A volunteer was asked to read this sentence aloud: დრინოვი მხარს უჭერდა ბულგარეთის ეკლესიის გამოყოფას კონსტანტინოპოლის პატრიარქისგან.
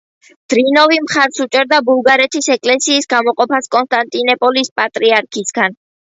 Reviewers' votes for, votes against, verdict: 2, 0, accepted